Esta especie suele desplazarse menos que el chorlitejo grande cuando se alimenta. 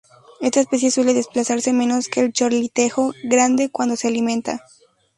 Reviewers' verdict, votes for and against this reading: rejected, 2, 2